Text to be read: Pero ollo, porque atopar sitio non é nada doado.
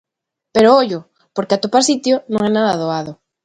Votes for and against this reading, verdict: 2, 0, accepted